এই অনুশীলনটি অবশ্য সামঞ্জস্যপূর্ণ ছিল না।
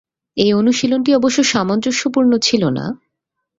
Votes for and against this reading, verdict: 2, 0, accepted